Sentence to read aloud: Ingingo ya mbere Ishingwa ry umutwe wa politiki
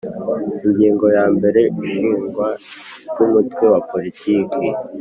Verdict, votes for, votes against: accepted, 2, 0